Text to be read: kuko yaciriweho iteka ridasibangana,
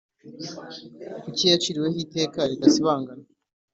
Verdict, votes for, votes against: accepted, 2, 0